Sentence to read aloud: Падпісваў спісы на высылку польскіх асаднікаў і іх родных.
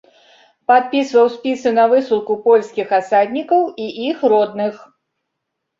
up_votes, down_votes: 2, 0